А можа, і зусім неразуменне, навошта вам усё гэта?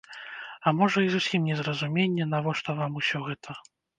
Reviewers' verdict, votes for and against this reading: rejected, 0, 2